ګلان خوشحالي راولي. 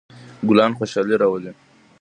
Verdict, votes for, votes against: rejected, 1, 2